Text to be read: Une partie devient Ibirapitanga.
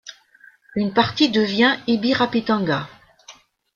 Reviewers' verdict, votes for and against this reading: accepted, 2, 0